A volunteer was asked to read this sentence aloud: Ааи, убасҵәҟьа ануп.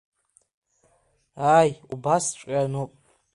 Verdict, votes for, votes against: accepted, 2, 0